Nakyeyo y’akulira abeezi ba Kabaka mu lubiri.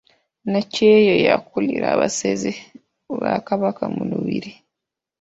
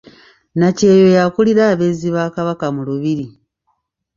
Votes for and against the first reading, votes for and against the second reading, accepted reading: 1, 2, 2, 0, second